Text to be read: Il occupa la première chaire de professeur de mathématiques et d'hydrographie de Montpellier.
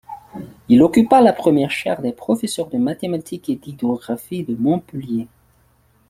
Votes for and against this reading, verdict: 2, 1, accepted